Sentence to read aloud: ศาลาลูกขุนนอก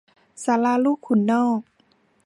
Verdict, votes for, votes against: accepted, 2, 0